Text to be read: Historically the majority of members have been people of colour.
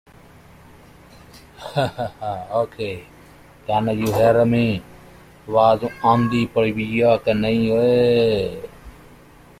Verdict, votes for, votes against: rejected, 0, 2